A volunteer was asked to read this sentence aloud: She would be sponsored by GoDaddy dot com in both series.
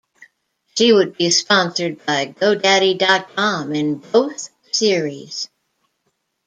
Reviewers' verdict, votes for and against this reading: rejected, 1, 2